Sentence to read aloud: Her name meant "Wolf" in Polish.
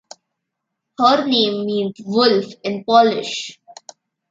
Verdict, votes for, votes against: rejected, 0, 2